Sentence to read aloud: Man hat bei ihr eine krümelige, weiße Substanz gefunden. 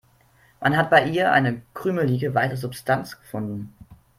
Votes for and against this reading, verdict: 2, 0, accepted